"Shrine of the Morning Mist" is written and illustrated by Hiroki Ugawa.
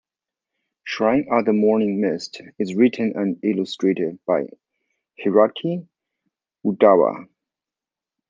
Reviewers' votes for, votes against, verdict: 2, 0, accepted